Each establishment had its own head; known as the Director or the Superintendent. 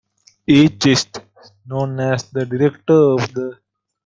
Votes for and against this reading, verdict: 0, 2, rejected